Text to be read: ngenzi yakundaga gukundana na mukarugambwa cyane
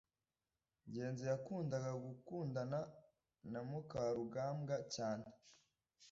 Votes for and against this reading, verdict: 2, 0, accepted